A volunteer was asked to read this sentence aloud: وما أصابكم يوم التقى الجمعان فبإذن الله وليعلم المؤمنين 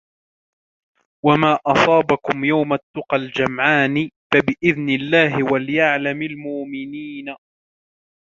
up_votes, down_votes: 1, 2